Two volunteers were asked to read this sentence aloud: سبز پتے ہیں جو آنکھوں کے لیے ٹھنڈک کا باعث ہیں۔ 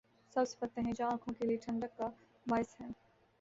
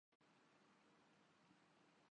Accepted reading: first